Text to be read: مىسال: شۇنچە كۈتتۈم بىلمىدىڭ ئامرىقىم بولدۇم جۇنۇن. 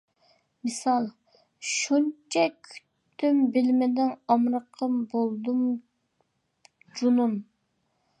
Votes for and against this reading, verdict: 2, 1, accepted